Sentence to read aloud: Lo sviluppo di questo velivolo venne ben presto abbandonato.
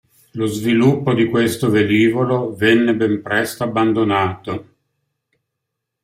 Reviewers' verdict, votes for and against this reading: accepted, 2, 0